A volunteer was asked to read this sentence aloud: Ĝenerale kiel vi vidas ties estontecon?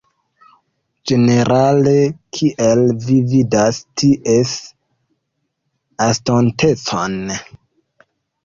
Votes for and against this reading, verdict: 0, 3, rejected